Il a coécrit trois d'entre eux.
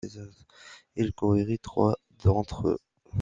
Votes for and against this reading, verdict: 1, 2, rejected